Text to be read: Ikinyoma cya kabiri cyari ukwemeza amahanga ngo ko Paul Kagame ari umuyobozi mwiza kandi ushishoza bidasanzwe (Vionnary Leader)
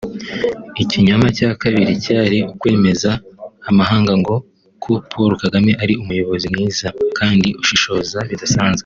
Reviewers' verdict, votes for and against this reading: rejected, 2, 3